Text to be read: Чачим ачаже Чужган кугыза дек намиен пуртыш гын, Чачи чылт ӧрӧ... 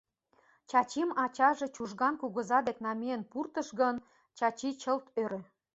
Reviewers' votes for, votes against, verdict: 2, 0, accepted